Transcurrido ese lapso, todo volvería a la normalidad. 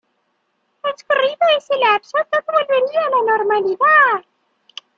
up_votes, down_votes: 0, 2